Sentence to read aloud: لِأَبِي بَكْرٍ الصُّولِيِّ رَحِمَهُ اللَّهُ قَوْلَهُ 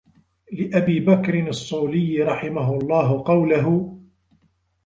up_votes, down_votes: 1, 2